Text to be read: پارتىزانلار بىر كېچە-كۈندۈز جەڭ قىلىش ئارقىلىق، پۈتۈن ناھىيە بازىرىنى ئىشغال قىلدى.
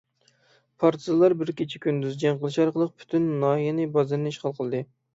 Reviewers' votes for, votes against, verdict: 3, 6, rejected